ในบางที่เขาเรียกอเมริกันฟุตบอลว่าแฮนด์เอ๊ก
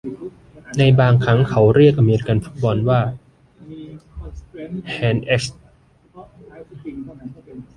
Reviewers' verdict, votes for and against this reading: rejected, 0, 2